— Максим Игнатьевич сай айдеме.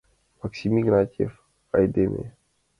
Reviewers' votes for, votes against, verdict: 2, 1, accepted